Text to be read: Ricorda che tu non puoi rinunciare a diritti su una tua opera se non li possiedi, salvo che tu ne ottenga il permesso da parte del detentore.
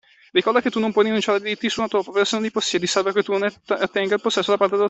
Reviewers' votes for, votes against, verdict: 0, 2, rejected